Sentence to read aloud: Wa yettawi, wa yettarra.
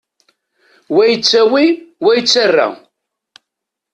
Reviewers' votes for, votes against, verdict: 2, 0, accepted